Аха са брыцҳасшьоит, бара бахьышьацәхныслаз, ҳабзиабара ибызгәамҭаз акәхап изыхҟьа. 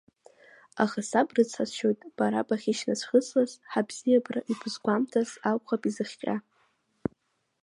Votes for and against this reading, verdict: 0, 2, rejected